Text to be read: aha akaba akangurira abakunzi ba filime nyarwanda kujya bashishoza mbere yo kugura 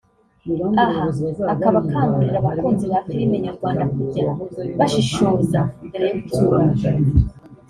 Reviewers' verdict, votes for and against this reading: rejected, 1, 2